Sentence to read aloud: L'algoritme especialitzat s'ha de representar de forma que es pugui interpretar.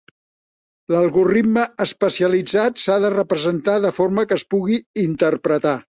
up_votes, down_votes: 0, 2